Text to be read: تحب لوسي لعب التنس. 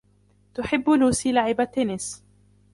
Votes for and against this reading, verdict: 2, 0, accepted